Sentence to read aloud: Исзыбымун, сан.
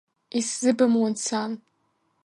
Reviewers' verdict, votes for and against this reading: accepted, 2, 0